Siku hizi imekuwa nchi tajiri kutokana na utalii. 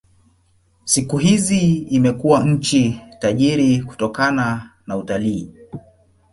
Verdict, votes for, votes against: accepted, 2, 0